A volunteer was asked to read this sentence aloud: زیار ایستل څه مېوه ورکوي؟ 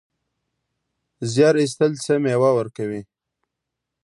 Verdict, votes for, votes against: accepted, 2, 0